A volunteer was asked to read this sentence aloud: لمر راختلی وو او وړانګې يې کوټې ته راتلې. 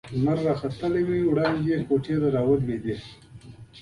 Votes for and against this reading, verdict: 1, 2, rejected